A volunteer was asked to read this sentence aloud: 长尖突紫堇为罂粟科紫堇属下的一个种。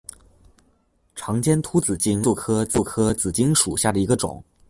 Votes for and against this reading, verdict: 1, 2, rejected